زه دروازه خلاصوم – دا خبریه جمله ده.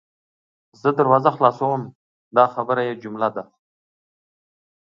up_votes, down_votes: 0, 2